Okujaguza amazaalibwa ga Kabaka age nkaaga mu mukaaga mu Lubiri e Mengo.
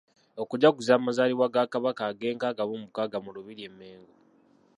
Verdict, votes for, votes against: rejected, 0, 2